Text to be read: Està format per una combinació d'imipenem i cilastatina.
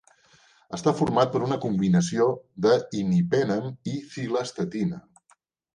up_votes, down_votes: 0, 2